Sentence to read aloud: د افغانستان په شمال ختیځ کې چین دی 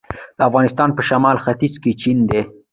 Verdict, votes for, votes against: accepted, 2, 1